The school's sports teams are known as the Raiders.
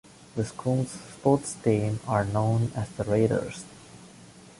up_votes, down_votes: 2, 1